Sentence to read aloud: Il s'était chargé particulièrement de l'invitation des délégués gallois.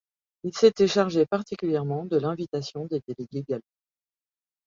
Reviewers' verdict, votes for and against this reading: accepted, 2, 0